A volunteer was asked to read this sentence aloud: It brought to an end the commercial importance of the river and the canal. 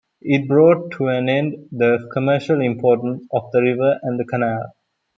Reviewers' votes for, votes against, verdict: 1, 2, rejected